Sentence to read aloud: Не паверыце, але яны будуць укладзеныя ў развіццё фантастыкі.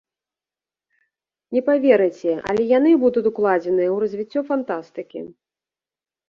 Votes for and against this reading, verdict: 1, 2, rejected